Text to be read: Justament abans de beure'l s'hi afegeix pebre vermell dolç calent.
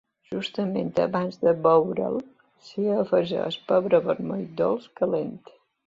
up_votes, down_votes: 2, 1